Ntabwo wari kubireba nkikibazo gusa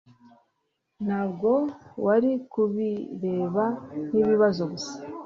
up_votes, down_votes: 1, 2